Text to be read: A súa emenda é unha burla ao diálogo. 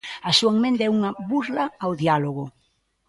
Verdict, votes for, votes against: rejected, 0, 2